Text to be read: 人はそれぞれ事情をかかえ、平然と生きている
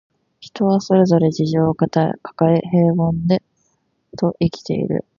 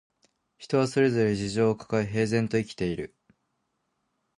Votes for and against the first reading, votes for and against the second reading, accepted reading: 0, 2, 2, 0, second